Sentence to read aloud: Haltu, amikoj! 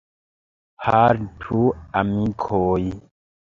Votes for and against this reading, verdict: 2, 1, accepted